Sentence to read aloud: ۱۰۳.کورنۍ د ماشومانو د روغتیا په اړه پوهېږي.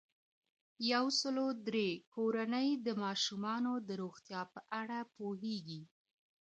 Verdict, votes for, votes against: rejected, 0, 2